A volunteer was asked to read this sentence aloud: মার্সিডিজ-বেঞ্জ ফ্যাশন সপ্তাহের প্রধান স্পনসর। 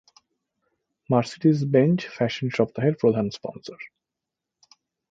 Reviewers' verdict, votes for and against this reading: accepted, 2, 0